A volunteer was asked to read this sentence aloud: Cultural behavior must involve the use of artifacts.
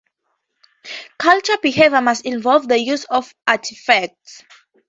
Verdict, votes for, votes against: accepted, 2, 0